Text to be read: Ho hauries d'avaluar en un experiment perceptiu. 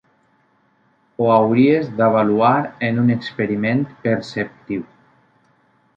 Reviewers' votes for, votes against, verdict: 3, 0, accepted